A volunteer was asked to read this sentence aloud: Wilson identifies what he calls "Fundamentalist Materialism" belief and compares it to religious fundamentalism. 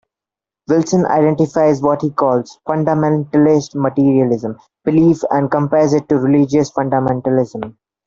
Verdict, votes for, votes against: accepted, 2, 0